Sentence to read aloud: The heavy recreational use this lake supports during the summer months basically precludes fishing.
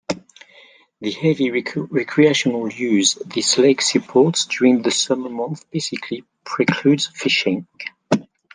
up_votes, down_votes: 0, 2